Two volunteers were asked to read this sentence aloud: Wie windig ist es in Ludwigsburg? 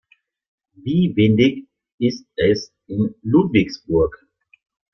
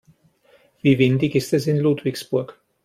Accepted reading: second